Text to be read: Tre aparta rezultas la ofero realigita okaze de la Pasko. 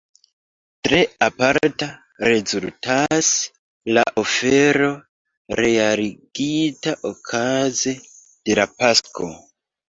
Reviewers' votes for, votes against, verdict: 0, 2, rejected